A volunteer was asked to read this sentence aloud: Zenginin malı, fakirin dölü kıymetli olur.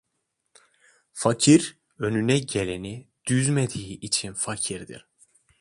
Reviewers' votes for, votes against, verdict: 0, 2, rejected